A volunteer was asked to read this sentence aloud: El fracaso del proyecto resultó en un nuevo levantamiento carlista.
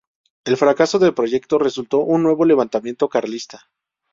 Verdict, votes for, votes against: rejected, 0, 2